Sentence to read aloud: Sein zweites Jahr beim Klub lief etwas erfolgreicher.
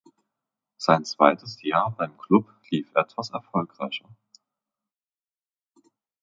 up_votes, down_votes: 0, 2